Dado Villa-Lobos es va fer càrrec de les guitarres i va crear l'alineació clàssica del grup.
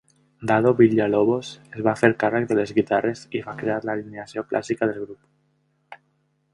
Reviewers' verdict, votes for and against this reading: rejected, 1, 2